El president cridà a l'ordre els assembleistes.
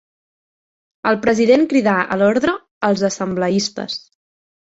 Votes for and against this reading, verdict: 4, 0, accepted